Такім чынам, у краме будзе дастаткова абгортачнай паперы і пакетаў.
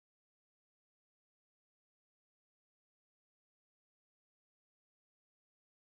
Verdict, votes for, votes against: rejected, 0, 2